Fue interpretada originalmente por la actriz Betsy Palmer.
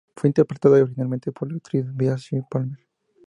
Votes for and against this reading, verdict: 2, 0, accepted